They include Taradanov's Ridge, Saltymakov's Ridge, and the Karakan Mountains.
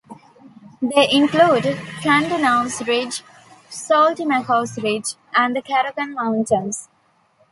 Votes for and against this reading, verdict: 1, 2, rejected